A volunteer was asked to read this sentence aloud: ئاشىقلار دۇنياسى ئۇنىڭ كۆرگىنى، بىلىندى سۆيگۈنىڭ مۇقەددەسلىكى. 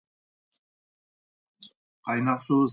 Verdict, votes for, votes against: rejected, 0, 2